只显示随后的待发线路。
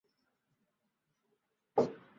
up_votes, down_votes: 1, 2